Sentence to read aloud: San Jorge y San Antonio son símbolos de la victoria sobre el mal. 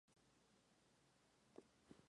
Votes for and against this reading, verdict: 0, 2, rejected